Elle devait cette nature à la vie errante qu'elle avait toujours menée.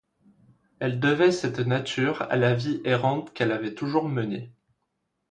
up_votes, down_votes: 2, 0